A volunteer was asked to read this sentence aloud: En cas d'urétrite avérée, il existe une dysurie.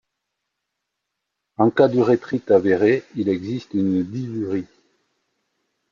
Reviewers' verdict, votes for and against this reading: rejected, 0, 2